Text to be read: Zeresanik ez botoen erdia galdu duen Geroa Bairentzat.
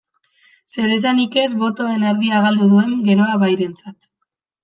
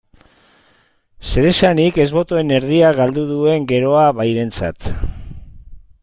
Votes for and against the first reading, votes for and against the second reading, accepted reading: 2, 0, 1, 2, first